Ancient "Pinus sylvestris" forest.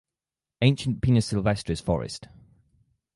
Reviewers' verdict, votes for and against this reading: accepted, 4, 0